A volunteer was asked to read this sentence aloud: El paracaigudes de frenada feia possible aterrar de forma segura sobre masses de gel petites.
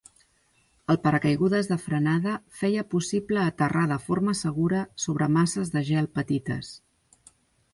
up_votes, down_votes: 2, 0